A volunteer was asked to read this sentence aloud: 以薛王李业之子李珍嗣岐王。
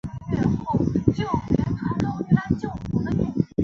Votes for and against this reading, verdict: 0, 2, rejected